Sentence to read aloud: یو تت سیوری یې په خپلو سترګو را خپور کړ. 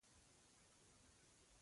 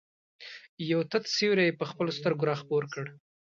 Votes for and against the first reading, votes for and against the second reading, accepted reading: 1, 2, 2, 0, second